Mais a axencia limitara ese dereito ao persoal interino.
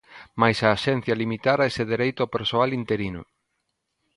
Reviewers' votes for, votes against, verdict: 2, 0, accepted